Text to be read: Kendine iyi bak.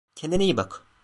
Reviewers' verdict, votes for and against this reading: accepted, 2, 0